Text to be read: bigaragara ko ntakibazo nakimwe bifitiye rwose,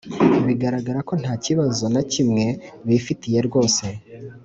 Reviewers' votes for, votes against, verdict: 3, 0, accepted